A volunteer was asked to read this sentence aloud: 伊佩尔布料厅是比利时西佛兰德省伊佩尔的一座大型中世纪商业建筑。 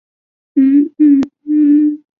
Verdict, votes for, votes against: rejected, 0, 4